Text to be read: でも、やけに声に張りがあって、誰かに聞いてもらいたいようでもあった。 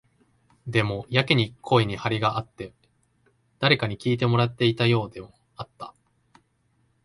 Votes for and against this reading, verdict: 0, 2, rejected